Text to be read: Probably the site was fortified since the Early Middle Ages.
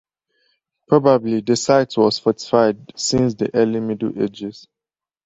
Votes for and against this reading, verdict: 4, 0, accepted